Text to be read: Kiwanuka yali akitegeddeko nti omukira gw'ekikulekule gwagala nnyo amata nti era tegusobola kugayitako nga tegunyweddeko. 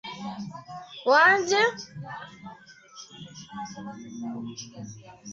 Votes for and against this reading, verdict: 0, 2, rejected